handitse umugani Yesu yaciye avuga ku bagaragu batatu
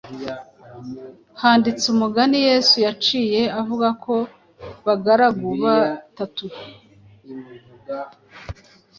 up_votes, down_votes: 2, 0